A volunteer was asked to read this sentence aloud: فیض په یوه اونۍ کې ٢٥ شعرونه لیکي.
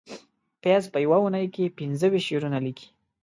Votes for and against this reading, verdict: 0, 2, rejected